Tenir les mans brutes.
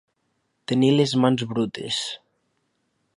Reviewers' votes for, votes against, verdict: 2, 1, accepted